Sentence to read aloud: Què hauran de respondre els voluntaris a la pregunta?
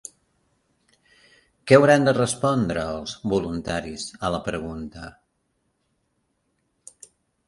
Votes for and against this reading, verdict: 1, 2, rejected